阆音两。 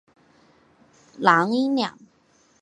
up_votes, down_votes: 2, 1